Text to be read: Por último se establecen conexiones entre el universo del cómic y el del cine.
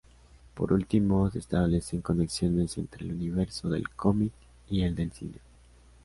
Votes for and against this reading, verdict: 2, 0, accepted